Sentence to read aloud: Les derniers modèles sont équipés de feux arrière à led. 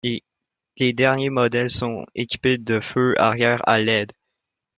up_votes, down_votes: 2, 0